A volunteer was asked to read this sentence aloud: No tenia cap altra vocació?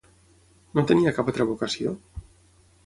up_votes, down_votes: 3, 6